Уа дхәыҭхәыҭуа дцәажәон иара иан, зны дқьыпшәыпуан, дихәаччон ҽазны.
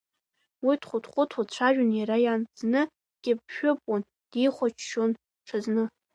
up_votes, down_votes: 1, 2